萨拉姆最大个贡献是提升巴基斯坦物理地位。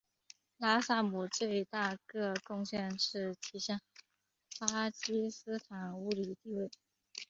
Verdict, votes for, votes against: accepted, 2, 1